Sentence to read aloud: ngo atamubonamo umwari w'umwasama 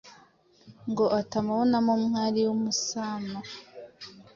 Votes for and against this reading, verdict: 1, 2, rejected